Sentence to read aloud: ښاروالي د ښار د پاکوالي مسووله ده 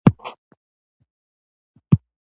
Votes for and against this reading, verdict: 2, 0, accepted